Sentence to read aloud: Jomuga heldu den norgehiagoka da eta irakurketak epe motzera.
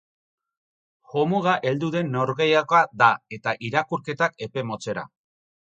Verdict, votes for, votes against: accepted, 4, 0